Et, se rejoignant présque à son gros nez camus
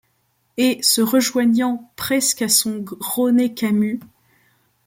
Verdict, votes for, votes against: rejected, 0, 2